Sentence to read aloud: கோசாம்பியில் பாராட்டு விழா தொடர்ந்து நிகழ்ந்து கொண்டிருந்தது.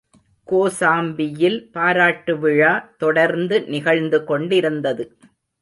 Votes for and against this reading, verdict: 2, 0, accepted